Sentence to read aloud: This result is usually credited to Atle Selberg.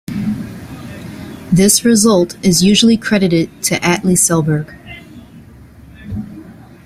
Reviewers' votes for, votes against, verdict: 2, 0, accepted